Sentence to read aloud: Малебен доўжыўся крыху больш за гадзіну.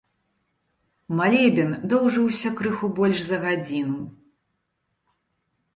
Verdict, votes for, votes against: accepted, 2, 0